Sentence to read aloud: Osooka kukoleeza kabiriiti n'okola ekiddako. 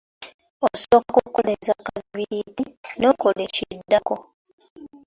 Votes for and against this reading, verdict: 1, 2, rejected